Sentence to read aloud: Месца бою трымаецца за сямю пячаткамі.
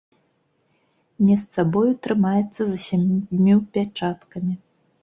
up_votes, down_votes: 1, 2